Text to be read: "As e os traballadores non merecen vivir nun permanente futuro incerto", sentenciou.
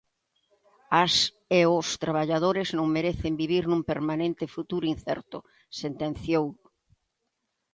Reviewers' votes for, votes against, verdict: 2, 1, accepted